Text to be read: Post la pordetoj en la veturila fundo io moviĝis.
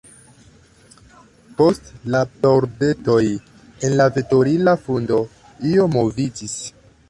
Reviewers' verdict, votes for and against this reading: accepted, 2, 1